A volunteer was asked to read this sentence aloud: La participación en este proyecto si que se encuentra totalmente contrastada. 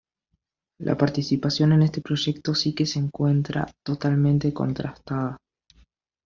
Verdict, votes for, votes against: rejected, 1, 2